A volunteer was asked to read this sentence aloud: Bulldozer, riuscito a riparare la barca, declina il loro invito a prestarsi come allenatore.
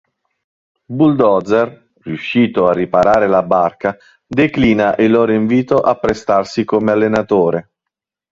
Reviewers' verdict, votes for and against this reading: accepted, 2, 1